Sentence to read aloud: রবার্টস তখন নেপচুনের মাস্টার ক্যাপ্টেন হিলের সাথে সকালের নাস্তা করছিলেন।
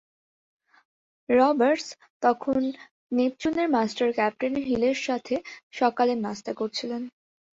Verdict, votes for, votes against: accepted, 16, 0